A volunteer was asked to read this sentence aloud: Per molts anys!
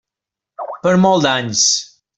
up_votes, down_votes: 2, 0